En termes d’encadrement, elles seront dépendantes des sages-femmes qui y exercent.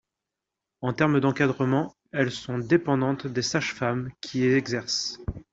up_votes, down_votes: 0, 2